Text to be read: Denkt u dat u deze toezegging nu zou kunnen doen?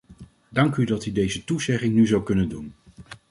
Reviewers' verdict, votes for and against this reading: rejected, 1, 2